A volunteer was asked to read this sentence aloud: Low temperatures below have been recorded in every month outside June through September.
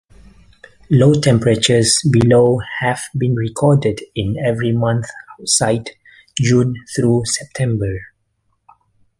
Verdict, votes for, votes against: accepted, 2, 1